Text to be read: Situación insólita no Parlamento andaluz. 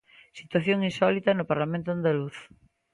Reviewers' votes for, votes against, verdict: 2, 0, accepted